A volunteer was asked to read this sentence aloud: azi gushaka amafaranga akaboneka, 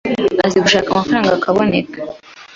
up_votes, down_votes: 2, 0